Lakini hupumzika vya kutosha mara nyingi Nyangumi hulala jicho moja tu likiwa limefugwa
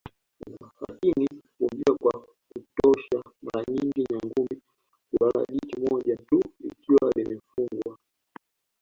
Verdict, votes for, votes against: rejected, 1, 3